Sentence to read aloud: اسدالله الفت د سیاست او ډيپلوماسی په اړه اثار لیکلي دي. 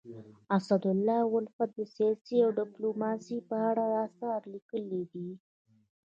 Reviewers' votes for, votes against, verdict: 2, 0, accepted